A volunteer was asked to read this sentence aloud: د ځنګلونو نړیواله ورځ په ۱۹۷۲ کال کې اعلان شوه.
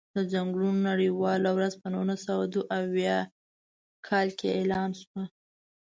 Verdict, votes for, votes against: rejected, 0, 2